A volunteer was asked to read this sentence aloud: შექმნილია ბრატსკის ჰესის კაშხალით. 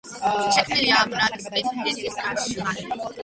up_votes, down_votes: 0, 2